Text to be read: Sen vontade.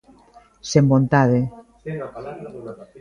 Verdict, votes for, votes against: rejected, 1, 2